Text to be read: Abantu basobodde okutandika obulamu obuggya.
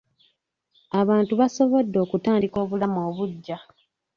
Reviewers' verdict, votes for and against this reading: rejected, 0, 2